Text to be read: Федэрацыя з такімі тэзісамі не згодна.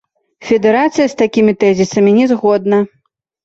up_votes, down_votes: 1, 3